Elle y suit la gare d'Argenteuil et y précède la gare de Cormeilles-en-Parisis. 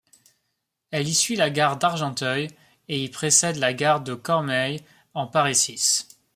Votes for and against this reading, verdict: 0, 2, rejected